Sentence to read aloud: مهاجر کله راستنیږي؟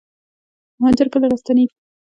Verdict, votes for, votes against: accepted, 2, 1